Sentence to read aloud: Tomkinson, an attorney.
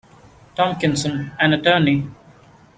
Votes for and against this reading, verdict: 2, 0, accepted